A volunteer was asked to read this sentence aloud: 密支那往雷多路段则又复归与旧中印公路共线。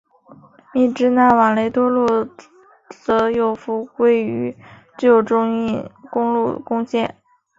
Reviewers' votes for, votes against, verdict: 2, 0, accepted